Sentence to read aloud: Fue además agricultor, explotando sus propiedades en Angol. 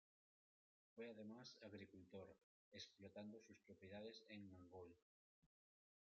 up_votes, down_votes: 1, 2